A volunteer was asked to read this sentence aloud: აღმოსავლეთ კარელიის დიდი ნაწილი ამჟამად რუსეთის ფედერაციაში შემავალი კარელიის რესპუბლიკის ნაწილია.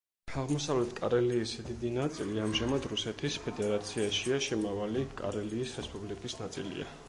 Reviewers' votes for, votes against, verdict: 1, 2, rejected